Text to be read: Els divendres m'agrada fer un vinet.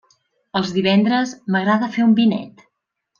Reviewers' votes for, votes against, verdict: 3, 0, accepted